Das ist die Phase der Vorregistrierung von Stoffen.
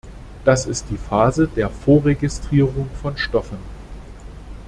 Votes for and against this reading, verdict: 2, 0, accepted